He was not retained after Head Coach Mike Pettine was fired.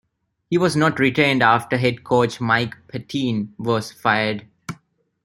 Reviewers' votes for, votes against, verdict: 2, 0, accepted